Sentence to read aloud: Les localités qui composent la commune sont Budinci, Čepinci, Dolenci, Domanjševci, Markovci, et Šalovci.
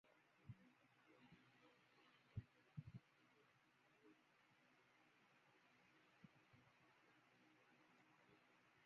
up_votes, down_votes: 0, 2